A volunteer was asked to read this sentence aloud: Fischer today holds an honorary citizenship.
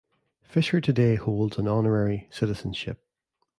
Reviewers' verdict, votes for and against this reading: accepted, 2, 0